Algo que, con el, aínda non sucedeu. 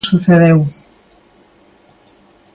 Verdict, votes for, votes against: rejected, 0, 2